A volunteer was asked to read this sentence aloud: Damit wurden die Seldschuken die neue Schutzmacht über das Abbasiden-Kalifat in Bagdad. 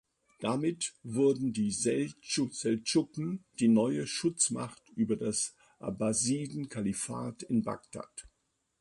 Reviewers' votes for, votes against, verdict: 0, 2, rejected